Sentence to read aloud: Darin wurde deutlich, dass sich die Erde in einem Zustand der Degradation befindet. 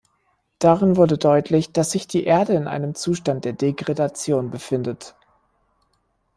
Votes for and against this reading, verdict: 1, 2, rejected